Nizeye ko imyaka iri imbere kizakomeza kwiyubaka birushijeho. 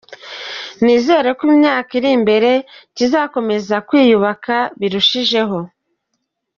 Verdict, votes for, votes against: accepted, 3, 1